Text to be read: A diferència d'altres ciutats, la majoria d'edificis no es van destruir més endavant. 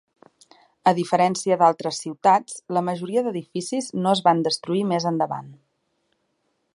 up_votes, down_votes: 4, 0